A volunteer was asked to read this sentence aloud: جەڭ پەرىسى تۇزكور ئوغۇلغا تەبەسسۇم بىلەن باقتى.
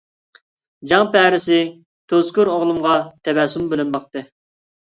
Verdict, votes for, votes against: rejected, 0, 2